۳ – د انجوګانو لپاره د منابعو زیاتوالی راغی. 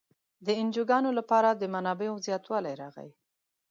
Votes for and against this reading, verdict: 0, 2, rejected